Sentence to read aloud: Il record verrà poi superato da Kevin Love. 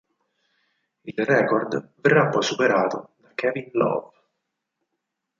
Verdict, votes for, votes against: rejected, 2, 4